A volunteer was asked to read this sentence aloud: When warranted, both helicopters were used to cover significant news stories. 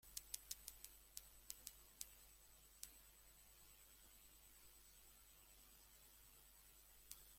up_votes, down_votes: 0, 2